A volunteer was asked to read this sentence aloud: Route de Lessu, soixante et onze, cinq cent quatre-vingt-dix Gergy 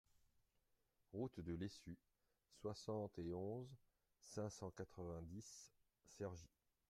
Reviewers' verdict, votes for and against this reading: rejected, 0, 2